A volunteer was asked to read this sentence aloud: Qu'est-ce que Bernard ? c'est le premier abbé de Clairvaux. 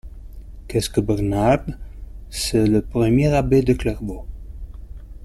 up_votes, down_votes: 0, 2